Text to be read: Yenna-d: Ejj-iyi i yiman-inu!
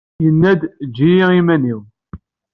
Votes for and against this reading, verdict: 2, 0, accepted